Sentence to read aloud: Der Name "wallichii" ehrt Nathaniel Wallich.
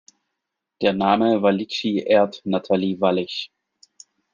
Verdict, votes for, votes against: rejected, 0, 2